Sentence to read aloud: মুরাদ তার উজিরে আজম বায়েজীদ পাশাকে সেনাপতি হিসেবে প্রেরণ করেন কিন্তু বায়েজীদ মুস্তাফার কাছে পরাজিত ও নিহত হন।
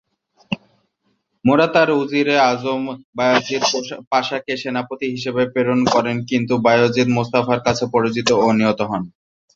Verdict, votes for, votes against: rejected, 0, 2